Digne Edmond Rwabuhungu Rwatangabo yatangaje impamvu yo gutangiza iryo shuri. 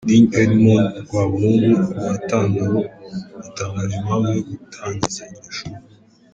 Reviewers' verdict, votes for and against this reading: rejected, 0, 2